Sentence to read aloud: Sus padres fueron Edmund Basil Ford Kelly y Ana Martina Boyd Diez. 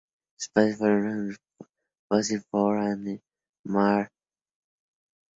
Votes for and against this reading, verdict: 0, 2, rejected